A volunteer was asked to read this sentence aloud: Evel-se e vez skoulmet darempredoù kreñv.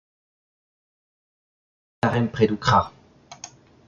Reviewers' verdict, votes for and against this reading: rejected, 0, 2